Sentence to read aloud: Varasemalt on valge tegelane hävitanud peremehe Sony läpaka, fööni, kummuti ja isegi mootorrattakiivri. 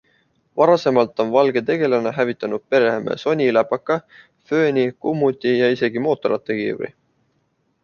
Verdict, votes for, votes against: accepted, 2, 0